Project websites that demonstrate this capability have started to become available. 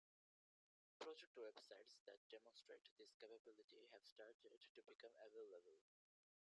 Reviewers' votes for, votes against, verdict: 1, 2, rejected